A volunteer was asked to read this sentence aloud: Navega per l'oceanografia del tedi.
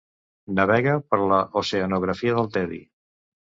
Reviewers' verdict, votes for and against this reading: accepted, 2, 1